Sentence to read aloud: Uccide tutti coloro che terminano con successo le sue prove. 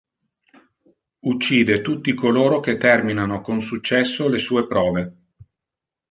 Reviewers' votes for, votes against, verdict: 2, 0, accepted